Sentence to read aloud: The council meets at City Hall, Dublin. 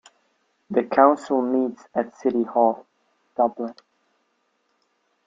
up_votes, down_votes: 3, 0